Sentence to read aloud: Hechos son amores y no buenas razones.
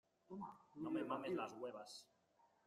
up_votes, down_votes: 0, 2